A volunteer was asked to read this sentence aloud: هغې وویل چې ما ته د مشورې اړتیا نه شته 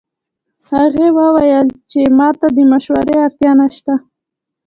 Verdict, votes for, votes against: rejected, 0, 2